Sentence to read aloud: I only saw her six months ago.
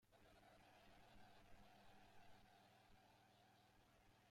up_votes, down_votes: 0, 2